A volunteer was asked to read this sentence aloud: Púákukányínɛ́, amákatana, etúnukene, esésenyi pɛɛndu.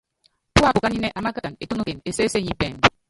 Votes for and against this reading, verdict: 0, 3, rejected